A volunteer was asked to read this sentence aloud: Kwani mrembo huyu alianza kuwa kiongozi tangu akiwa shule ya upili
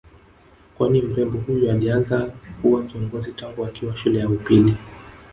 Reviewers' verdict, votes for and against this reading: rejected, 0, 2